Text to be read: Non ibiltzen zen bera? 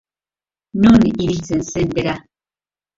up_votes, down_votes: 1, 2